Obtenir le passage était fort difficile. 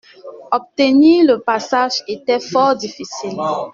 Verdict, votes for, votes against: accepted, 2, 0